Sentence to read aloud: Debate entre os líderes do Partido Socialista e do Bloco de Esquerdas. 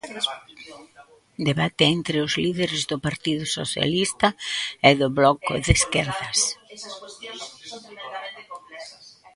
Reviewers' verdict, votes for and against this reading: rejected, 0, 2